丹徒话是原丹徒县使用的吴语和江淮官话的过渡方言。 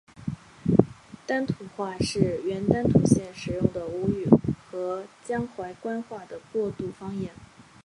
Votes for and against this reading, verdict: 3, 0, accepted